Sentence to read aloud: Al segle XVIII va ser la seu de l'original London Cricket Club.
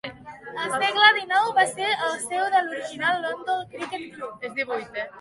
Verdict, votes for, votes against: rejected, 0, 2